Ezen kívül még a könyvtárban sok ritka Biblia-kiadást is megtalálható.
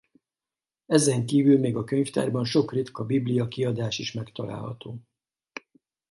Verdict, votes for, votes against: rejected, 0, 2